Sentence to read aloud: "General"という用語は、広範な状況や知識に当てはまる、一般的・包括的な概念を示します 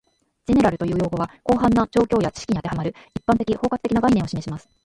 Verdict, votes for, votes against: rejected, 0, 2